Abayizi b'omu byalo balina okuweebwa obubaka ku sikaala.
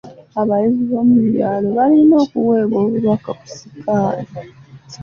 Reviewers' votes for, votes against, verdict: 2, 0, accepted